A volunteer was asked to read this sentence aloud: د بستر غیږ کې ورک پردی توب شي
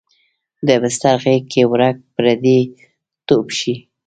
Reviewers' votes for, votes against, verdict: 0, 2, rejected